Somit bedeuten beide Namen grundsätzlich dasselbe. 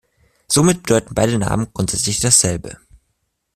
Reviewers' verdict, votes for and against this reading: rejected, 0, 2